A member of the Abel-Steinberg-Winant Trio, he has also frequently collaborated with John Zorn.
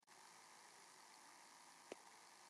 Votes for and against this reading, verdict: 0, 2, rejected